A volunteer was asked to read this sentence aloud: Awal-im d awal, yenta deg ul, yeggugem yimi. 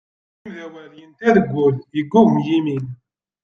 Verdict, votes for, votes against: rejected, 0, 2